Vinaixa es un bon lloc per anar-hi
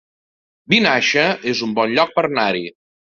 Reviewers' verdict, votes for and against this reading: rejected, 1, 2